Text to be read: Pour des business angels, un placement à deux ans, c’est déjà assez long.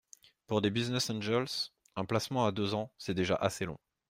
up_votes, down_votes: 2, 0